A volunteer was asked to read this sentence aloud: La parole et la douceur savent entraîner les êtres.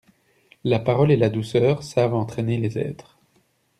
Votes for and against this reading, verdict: 2, 0, accepted